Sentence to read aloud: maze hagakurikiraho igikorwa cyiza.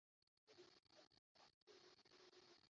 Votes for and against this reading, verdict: 0, 2, rejected